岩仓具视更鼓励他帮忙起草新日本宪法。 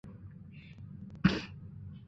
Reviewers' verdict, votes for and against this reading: rejected, 1, 2